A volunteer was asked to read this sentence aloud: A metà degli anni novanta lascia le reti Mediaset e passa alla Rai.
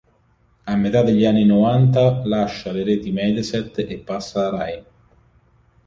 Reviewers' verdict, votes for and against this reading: rejected, 1, 3